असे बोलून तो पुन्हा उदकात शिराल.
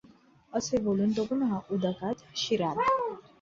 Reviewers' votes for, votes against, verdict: 0, 2, rejected